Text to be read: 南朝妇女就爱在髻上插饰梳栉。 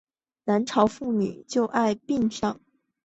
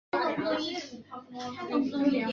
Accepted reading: first